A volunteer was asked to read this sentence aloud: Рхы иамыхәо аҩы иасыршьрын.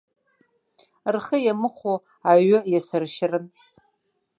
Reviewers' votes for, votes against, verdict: 1, 2, rejected